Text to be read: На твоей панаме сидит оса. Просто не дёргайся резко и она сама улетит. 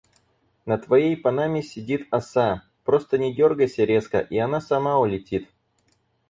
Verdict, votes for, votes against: accepted, 4, 0